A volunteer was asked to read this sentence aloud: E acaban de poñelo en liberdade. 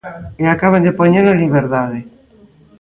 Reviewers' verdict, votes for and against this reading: accepted, 2, 0